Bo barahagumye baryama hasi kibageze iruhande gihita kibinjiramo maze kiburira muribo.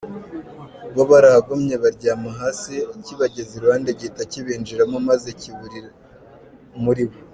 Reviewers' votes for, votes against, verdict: 3, 0, accepted